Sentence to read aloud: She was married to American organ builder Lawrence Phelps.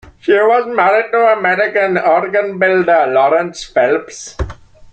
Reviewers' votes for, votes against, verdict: 2, 1, accepted